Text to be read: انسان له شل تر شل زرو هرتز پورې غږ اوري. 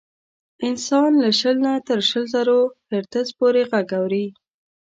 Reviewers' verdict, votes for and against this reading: accepted, 2, 0